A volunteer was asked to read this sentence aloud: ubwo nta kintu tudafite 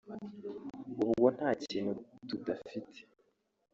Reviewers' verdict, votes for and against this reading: rejected, 0, 2